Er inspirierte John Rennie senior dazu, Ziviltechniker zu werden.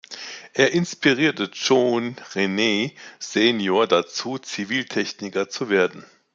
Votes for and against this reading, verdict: 1, 2, rejected